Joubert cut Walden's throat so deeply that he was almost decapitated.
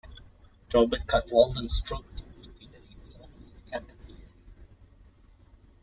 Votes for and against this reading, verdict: 0, 2, rejected